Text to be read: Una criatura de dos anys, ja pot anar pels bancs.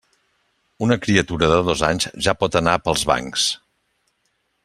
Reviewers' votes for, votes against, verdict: 3, 0, accepted